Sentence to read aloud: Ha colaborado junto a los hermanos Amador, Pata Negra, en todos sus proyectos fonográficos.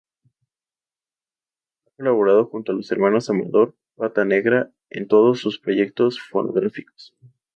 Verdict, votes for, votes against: rejected, 0, 2